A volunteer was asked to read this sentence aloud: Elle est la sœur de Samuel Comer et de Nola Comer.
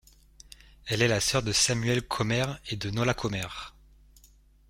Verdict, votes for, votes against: accepted, 2, 1